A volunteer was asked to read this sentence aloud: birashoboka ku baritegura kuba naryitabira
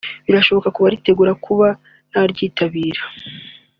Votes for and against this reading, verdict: 2, 0, accepted